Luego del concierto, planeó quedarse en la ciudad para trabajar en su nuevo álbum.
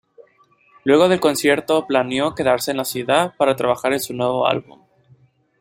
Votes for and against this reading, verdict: 2, 1, accepted